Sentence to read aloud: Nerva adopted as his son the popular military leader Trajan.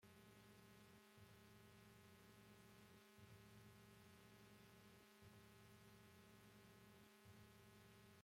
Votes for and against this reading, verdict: 0, 2, rejected